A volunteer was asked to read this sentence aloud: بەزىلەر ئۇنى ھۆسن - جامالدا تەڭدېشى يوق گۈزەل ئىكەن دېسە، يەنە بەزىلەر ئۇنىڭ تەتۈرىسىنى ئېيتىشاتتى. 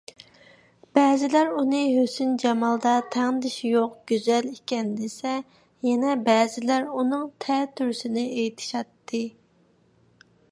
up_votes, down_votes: 2, 0